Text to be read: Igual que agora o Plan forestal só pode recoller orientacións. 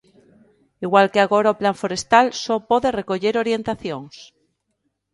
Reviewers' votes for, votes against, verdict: 2, 0, accepted